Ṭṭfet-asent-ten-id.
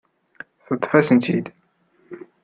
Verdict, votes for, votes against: accepted, 2, 0